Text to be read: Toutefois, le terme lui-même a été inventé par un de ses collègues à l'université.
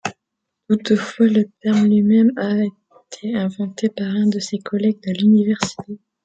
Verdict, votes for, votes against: accepted, 2, 1